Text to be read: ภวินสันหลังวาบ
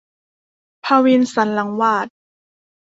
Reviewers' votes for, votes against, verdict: 1, 2, rejected